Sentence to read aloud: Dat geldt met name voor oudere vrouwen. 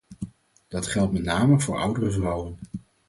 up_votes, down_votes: 4, 0